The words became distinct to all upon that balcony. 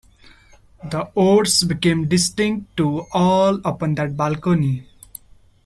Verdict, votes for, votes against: accepted, 2, 1